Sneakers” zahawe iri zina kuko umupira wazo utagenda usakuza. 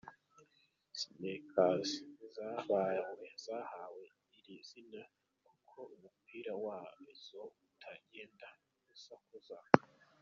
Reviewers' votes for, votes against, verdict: 1, 2, rejected